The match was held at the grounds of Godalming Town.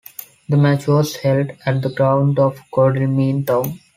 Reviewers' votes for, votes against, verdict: 1, 4, rejected